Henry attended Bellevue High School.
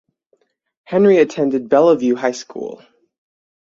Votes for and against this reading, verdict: 6, 0, accepted